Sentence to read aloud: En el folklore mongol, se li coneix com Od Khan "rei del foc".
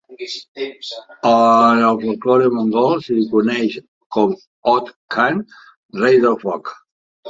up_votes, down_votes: 3, 2